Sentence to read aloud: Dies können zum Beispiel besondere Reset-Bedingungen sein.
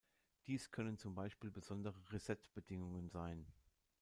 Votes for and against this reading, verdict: 2, 0, accepted